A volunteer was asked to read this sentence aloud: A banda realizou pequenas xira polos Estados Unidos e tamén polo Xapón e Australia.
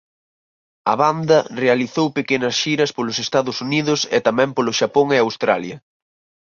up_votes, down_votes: 2, 0